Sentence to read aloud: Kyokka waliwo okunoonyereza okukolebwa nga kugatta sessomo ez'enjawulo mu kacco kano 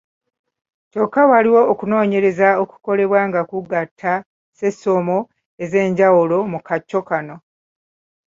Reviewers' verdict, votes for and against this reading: accepted, 2, 1